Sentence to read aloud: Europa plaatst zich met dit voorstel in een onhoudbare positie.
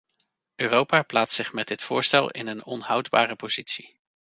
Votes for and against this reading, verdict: 2, 0, accepted